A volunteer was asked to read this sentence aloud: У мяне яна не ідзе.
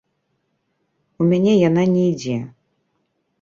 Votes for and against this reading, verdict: 2, 0, accepted